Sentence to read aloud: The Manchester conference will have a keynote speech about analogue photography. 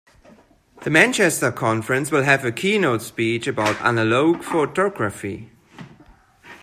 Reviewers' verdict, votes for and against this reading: accepted, 2, 0